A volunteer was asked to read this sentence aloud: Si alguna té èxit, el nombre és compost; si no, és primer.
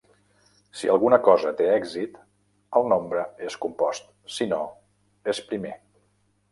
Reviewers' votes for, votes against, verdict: 0, 2, rejected